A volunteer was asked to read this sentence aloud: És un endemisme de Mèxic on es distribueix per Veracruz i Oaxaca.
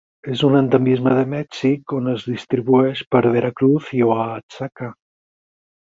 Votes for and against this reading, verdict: 4, 0, accepted